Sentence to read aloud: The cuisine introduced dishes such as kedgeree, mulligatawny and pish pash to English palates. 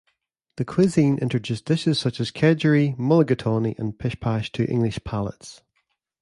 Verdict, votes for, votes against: accepted, 2, 0